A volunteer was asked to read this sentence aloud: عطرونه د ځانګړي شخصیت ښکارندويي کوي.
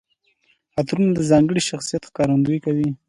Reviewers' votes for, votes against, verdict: 2, 0, accepted